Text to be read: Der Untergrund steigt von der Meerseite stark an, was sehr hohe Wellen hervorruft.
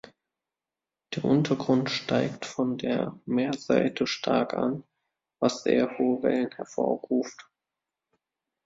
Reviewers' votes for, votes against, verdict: 2, 0, accepted